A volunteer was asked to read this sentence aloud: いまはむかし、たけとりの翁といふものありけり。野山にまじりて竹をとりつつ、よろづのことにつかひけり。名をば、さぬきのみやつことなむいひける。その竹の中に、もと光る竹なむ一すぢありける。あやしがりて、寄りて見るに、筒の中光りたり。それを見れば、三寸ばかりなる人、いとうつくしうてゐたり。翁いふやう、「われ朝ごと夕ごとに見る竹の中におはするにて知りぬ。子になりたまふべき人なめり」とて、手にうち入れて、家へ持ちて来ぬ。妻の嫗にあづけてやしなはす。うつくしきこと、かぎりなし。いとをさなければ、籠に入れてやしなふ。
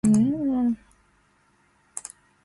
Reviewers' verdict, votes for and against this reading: rejected, 0, 2